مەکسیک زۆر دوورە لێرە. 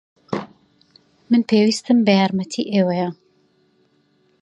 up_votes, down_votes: 1, 2